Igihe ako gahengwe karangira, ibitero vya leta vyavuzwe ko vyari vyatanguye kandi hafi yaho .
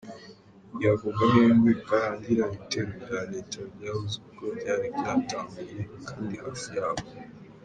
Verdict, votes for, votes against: rejected, 1, 2